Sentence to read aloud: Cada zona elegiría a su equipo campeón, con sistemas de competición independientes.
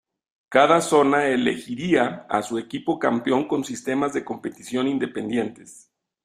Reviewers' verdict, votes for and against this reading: rejected, 1, 2